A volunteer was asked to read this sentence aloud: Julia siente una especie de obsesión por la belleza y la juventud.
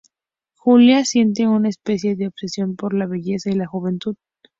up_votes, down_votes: 2, 0